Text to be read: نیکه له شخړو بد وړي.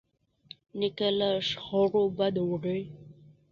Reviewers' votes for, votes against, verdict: 0, 2, rejected